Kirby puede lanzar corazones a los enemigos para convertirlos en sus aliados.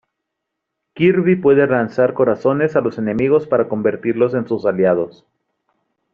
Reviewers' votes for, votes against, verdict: 0, 2, rejected